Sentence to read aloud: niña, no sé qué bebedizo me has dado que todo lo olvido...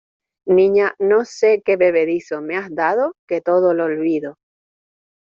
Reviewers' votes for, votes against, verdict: 2, 0, accepted